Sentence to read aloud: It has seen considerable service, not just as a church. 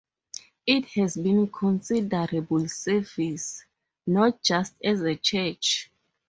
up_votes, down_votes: 0, 2